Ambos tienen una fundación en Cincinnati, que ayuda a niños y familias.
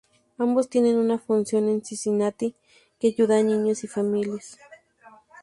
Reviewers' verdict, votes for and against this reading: rejected, 0, 2